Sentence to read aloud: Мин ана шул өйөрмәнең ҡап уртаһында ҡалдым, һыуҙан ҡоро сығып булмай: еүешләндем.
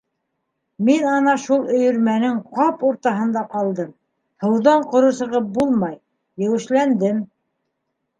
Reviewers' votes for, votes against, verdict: 2, 0, accepted